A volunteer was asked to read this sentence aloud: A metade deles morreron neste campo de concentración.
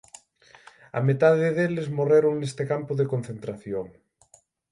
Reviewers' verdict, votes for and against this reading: accepted, 9, 0